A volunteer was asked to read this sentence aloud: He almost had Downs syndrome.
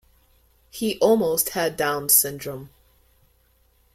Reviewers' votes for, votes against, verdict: 2, 0, accepted